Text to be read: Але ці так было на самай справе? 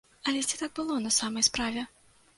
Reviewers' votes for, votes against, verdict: 2, 0, accepted